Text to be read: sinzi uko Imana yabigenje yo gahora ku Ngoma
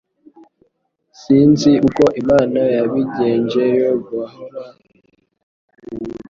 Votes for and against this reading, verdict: 1, 3, rejected